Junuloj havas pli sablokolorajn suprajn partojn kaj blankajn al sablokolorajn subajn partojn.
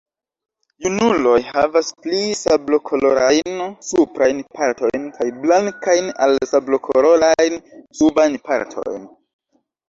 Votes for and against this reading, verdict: 1, 2, rejected